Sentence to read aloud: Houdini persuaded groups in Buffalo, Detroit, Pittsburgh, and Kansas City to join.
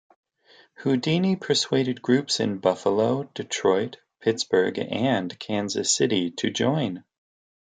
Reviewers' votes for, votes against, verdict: 2, 0, accepted